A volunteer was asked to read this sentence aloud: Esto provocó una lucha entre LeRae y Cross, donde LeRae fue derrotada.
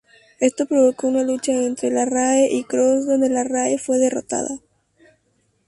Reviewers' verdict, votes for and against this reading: rejected, 2, 2